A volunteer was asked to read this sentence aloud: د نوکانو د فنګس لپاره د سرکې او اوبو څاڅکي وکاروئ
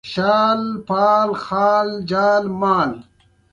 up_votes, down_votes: 1, 2